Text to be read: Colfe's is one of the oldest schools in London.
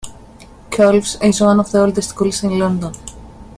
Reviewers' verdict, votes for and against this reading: accepted, 2, 1